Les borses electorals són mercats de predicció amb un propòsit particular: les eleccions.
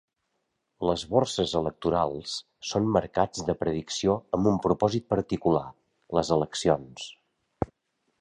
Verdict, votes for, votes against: accepted, 2, 0